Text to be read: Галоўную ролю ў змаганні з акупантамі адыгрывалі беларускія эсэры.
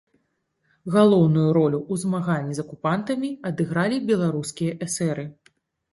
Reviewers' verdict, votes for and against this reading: rejected, 1, 2